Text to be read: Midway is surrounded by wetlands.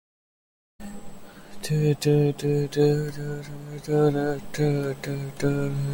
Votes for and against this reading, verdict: 0, 2, rejected